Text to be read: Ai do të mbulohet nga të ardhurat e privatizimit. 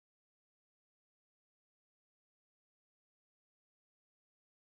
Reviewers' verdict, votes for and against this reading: rejected, 0, 2